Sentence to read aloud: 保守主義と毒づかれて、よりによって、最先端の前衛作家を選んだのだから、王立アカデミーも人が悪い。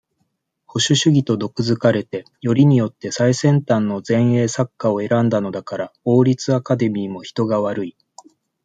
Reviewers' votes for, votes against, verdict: 2, 0, accepted